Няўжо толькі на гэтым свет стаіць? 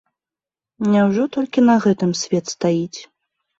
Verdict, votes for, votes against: accepted, 2, 0